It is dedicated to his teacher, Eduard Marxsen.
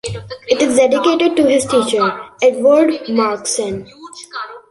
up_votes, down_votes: 2, 1